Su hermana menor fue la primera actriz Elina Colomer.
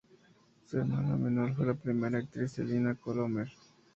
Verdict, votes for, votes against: accepted, 2, 0